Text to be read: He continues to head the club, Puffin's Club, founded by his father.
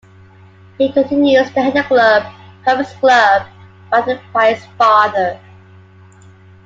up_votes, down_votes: 2, 1